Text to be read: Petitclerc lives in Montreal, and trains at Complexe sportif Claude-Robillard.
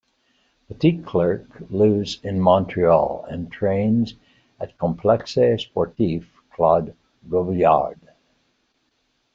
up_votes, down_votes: 2, 0